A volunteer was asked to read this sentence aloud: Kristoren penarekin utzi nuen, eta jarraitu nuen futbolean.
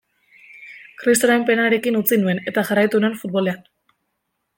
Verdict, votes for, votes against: accepted, 2, 0